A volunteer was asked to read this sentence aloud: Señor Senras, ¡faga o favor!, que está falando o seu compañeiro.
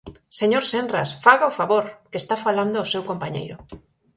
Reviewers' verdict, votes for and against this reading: accepted, 4, 0